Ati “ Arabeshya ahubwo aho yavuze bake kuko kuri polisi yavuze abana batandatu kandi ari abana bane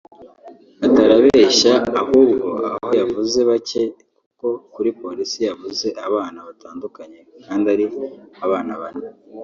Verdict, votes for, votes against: rejected, 0, 2